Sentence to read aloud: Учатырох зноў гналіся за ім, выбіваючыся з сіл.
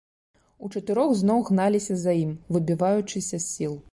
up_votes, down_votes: 2, 0